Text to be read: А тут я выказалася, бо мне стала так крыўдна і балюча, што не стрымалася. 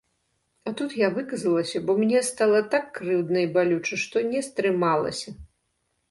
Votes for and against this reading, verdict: 2, 0, accepted